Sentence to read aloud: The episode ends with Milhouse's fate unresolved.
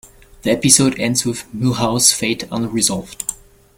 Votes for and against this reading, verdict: 3, 2, accepted